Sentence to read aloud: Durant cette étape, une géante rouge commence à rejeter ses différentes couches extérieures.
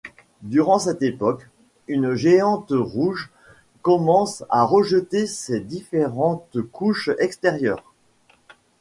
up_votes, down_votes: 1, 2